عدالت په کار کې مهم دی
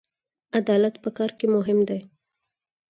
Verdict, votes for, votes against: accepted, 4, 0